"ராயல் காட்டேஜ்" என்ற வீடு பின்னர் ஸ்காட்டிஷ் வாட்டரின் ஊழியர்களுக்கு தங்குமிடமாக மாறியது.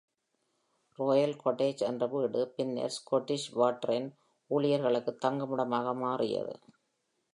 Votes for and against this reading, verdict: 1, 2, rejected